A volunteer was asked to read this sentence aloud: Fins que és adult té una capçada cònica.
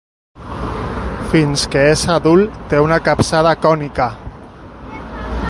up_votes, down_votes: 0, 2